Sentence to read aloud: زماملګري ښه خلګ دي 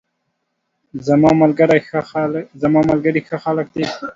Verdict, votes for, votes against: rejected, 1, 2